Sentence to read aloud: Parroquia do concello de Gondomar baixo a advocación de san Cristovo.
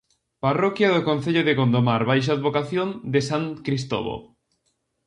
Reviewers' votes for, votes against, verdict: 2, 0, accepted